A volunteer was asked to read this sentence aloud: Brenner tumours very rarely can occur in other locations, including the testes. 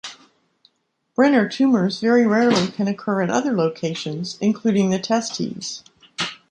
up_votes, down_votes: 2, 0